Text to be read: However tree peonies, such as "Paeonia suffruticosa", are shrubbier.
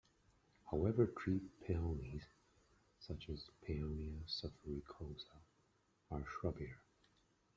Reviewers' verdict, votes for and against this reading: rejected, 0, 2